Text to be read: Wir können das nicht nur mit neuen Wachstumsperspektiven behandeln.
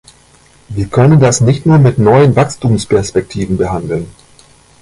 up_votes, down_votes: 1, 2